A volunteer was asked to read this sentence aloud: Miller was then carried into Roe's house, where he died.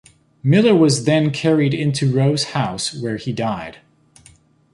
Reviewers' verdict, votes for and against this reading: accepted, 3, 0